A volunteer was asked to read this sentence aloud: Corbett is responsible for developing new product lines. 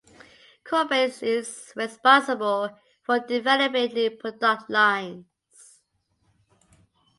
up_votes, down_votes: 2, 0